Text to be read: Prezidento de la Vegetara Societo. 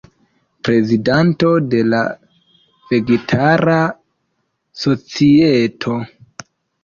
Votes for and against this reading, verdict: 1, 2, rejected